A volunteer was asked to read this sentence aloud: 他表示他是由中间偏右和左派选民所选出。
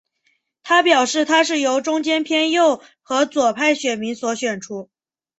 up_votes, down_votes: 4, 1